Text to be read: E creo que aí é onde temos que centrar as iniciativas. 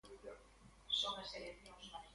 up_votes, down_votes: 0, 2